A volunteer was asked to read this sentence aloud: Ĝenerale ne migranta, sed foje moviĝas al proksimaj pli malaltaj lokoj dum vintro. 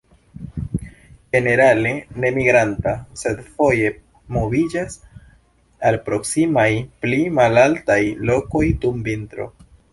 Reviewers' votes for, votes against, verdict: 2, 0, accepted